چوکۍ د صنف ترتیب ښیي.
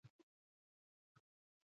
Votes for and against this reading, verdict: 0, 2, rejected